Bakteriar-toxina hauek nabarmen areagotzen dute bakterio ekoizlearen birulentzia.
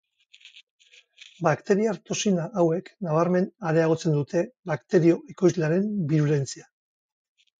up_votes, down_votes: 4, 0